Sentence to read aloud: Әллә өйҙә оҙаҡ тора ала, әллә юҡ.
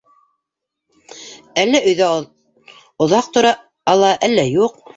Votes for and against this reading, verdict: 1, 2, rejected